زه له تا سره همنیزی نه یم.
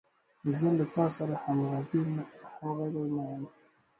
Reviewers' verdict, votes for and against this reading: rejected, 1, 2